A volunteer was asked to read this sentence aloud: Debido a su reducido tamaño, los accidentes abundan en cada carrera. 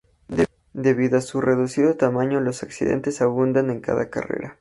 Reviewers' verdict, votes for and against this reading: rejected, 0, 2